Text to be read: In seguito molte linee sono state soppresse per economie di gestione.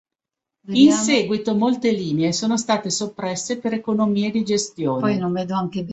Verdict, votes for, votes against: rejected, 1, 2